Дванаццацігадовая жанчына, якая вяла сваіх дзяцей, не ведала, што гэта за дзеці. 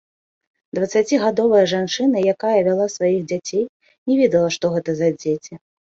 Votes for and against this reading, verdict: 0, 2, rejected